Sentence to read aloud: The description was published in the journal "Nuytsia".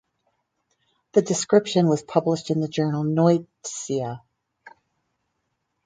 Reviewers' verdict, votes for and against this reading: rejected, 2, 2